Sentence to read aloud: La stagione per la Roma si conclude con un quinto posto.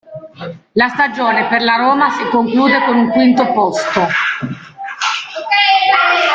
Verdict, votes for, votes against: rejected, 0, 2